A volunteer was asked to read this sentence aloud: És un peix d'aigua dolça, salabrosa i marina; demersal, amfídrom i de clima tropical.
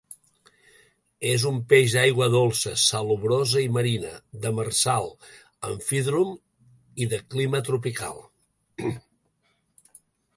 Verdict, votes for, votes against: rejected, 1, 2